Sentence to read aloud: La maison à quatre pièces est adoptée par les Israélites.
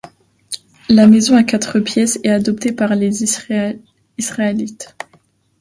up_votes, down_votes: 0, 2